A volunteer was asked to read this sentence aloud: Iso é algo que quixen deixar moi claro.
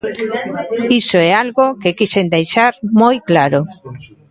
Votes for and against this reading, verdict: 1, 2, rejected